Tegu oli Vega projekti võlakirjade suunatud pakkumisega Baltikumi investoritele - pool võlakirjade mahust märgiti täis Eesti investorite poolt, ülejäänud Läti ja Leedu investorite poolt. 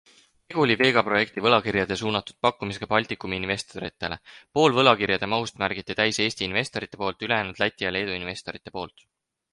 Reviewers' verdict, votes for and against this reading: accepted, 4, 0